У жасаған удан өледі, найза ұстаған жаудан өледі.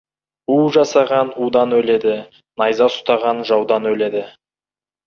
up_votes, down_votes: 2, 0